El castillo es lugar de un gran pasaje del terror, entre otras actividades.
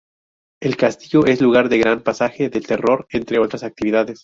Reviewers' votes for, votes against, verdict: 4, 0, accepted